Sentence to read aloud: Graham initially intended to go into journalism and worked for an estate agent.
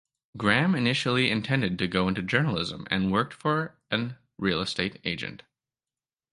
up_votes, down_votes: 0, 2